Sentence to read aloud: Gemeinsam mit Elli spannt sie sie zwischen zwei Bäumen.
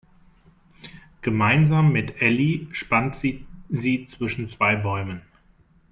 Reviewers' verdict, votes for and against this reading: rejected, 1, 2